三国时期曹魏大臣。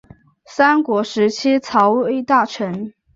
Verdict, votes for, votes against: accepted, 2, 0